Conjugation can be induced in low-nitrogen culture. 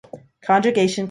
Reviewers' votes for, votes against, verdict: 0, 2, rejected